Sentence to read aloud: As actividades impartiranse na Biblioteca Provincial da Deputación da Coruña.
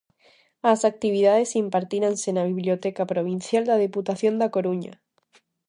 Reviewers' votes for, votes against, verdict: 0, 2, rejected